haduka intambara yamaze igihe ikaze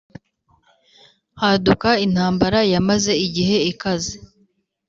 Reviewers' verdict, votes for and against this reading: accepted, 4, 0